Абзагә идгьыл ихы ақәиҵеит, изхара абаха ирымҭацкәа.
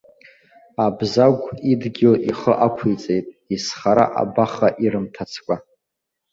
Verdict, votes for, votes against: accepted, 2, 0